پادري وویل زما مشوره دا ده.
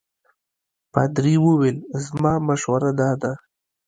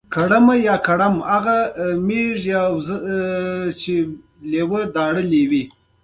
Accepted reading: first